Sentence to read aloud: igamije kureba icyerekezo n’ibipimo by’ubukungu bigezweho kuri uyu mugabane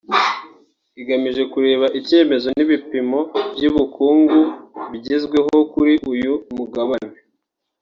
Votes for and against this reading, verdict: 0, 2, rejected